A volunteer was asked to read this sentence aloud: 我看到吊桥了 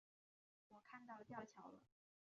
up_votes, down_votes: 0, 2